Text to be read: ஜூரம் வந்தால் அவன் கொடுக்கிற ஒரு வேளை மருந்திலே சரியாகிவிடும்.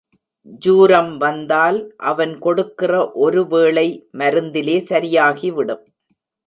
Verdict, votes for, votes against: rejected, 1, 2